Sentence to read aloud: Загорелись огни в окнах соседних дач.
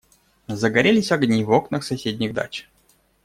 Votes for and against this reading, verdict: 2, 0, accepted